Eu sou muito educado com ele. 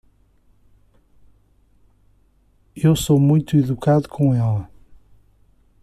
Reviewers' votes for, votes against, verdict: 2, 1, accepted